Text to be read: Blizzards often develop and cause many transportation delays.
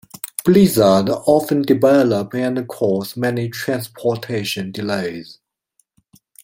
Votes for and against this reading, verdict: 0, 2, rejected